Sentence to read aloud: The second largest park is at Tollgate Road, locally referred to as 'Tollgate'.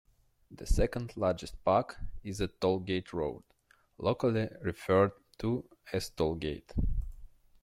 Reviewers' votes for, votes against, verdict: 0, 2, rejected